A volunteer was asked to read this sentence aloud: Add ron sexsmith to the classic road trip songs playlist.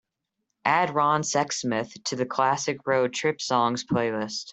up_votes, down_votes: 2, 0